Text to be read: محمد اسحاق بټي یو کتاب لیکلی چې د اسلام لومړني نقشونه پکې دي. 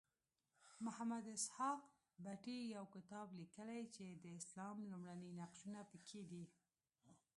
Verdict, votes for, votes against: accepted, 2, 1